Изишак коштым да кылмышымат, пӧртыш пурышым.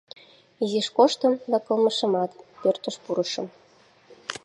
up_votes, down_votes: 0, 2